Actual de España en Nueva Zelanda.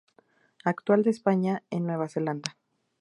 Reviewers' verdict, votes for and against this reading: accepted, 2, 0